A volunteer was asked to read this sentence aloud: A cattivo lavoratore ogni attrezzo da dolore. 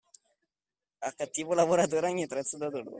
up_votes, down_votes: 2, 0